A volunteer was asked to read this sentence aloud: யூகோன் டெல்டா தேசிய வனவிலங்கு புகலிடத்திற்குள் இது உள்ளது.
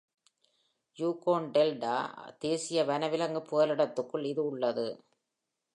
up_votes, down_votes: 2, 0